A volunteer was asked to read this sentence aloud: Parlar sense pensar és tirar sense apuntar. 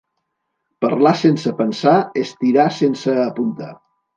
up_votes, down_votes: 2, 1